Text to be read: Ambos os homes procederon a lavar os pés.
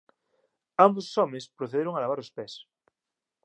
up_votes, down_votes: 2, 0